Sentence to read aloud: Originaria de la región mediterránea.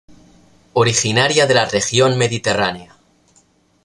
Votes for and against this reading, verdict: 2, 0, accepted